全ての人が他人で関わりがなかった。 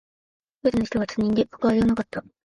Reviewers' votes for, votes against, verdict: 2, 3, rejected